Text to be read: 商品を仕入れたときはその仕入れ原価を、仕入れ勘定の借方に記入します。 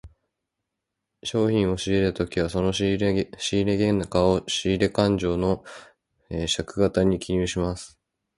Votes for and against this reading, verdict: 0, 2, rejected